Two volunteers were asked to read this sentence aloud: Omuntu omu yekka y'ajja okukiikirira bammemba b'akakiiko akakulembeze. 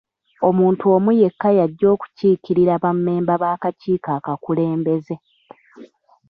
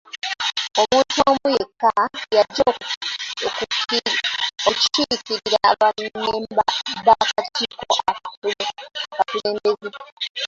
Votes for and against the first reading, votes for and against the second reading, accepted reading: 2, 1, 0, 2, first